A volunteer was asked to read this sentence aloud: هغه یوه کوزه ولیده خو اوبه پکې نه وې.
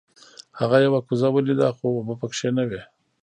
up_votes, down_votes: 2, 1